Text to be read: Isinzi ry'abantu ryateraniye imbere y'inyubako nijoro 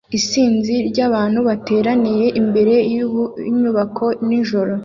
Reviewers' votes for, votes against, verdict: 0, 2, rejected